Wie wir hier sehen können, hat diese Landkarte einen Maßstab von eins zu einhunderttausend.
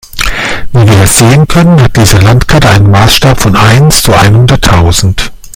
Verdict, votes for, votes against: rejected, 0, 2